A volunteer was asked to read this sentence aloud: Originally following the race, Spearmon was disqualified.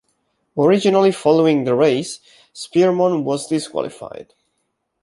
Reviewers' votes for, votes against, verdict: 2, 0, accepted